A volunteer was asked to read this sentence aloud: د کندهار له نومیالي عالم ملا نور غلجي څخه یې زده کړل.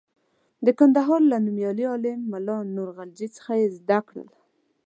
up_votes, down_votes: 2, 0